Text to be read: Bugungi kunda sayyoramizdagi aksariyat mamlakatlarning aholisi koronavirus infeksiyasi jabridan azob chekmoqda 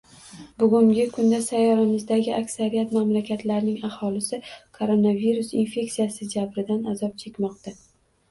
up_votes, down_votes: 2, 1